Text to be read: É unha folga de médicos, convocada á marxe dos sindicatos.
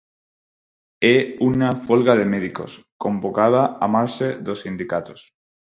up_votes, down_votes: 0, 4